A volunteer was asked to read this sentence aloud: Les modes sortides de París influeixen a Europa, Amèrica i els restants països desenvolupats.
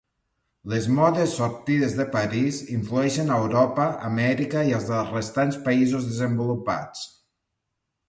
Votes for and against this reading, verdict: 2, 0, accepted